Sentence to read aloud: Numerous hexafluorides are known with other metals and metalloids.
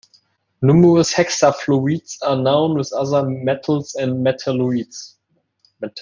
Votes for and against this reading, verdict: 1, 2, rejected